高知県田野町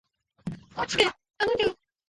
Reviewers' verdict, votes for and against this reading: rejected, 0, 2